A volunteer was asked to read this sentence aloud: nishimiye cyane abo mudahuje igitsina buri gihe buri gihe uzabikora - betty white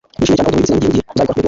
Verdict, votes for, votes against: rejected, 1, 3